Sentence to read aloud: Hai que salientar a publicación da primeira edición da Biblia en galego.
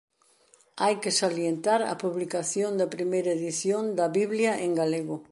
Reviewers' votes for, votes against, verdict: 2, 0, accepted